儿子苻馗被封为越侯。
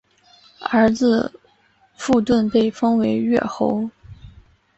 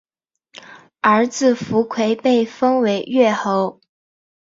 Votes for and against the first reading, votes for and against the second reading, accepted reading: 0, 3, 2, 0, second